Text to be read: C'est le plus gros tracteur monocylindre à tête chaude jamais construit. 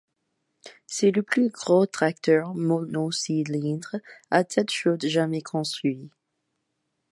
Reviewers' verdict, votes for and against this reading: rejected, 1, 2